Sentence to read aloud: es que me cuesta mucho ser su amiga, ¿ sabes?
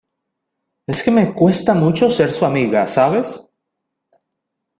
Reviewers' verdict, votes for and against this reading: accepted, 2, 0